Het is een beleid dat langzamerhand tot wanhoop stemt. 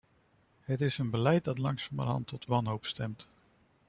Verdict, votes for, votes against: accepted, 2, 0